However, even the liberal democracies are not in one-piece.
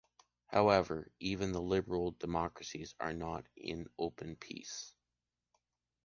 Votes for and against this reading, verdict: 0, 2, rejected